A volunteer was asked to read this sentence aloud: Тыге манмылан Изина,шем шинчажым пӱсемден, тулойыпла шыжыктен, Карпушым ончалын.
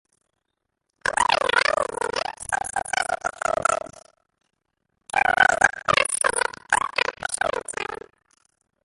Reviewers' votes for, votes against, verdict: 0, 2, rejected